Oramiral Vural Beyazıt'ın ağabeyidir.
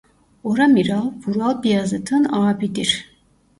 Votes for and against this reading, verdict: 1, 2, rejected